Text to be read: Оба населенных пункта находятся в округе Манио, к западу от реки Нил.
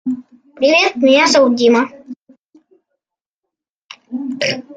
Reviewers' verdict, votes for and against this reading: rejected, 0, 2